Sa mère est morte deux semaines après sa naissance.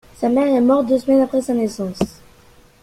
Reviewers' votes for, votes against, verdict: 2, 0, accepted